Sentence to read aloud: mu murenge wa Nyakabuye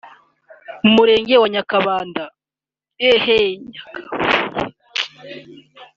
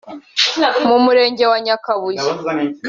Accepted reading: second